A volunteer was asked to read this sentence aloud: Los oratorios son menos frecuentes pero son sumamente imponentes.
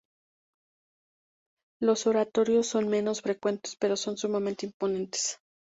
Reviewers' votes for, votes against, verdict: 4, 0, accepted